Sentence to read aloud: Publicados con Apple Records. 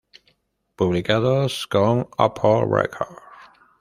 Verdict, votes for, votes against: rejected, 0, 2